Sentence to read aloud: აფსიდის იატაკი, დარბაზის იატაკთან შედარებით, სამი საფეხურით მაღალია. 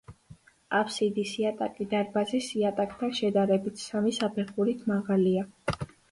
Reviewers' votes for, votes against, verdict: 2, 0, accepted